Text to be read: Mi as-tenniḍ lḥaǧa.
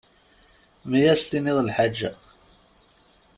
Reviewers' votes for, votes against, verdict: 2, 1, accepted